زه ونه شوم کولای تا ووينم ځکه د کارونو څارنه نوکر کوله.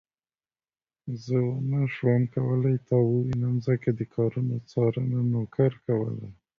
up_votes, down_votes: 2, 0